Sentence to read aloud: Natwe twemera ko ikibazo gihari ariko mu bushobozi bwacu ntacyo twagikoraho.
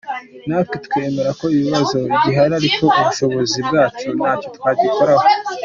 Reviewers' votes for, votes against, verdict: 2, 0, accepted